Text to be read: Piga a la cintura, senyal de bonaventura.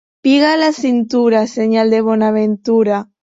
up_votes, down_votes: 2, 0